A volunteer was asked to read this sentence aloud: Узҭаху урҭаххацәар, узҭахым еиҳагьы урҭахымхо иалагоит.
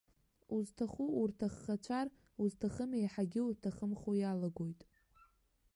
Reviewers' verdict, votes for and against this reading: rejected, 0, 2